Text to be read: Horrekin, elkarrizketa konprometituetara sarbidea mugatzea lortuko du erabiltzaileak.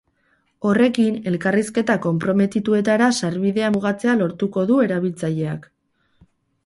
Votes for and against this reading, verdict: 4, 0, accepted